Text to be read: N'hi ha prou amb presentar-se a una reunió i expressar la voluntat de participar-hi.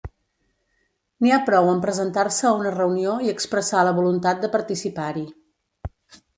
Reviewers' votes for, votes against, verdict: 2, 0, accepted